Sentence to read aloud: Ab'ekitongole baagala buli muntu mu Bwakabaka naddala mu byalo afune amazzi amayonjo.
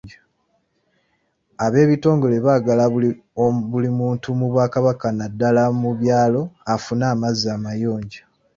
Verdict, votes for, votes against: accepted, 2, 0